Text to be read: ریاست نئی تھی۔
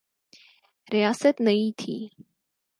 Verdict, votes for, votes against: accepted, 4, 0